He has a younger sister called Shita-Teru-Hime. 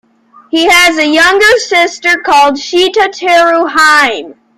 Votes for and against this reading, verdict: 2, 0, accepted